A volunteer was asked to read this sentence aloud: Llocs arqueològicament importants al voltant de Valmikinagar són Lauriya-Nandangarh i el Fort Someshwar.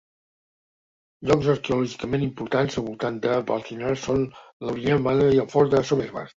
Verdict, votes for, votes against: rejected, 0, 2